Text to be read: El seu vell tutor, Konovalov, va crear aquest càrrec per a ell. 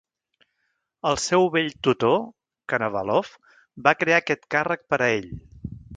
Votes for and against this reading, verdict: 1, 2, rejected